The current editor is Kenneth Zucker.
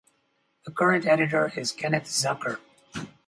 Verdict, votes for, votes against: accepted, 4, 0